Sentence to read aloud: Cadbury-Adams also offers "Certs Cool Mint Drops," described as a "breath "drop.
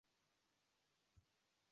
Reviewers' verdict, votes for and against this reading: rejected, 0, 2